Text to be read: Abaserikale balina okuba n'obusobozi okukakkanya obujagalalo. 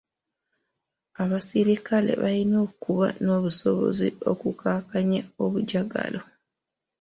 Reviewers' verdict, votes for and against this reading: accepted, 2, 1